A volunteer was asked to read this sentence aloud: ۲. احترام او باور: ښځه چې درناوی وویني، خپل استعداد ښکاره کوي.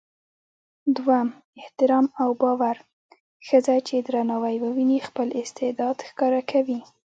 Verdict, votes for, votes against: rejected, 0, 2